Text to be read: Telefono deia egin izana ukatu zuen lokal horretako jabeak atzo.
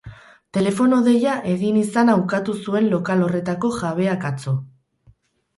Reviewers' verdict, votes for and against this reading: accepted, 4, 0